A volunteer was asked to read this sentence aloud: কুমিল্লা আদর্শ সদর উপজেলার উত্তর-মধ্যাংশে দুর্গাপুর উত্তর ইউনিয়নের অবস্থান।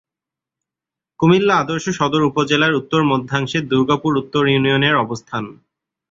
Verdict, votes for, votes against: accepted, 2, 0